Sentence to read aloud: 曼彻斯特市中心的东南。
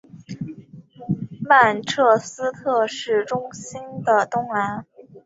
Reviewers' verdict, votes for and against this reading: accepted, 3, 0